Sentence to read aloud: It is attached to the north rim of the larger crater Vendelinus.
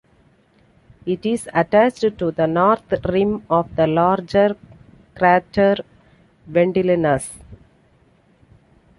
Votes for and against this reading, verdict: 2, 0, accepted